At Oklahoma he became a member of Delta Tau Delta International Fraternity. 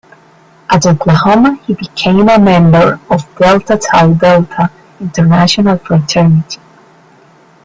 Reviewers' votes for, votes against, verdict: 2, 0, accepted